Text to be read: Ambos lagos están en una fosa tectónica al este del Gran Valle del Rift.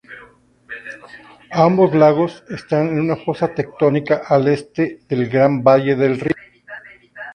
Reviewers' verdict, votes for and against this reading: rejected, 0, 4